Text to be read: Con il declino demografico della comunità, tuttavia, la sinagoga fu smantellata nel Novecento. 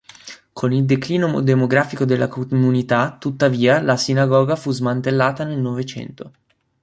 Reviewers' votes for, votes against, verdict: 1, 2, rejected